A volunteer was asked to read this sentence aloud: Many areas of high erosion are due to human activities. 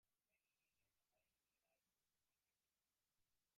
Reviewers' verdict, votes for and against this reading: rejected, 0, 2